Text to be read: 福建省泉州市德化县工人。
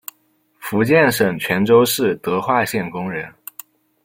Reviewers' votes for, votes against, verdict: 2, 0, accepted